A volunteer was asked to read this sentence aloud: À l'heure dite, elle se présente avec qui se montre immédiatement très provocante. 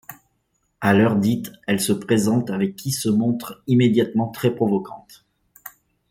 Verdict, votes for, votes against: accepted, 2, 0